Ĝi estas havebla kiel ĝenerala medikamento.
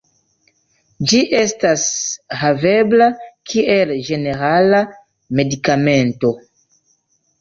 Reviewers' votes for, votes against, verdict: 1, 2, rejected